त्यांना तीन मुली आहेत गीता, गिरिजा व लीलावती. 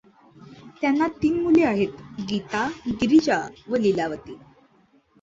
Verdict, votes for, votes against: accepted, 2, 0